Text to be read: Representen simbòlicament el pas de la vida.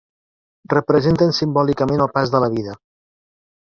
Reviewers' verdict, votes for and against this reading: accepted, 3, 1